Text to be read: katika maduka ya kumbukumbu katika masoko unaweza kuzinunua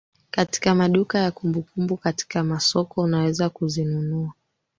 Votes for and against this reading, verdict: 3, 0, accepted